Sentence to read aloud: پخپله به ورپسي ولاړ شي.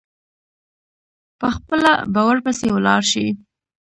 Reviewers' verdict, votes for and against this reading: accepted, 2, 1